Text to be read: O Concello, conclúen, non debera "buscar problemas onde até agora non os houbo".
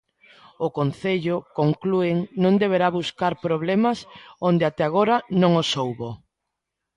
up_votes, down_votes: 2, 1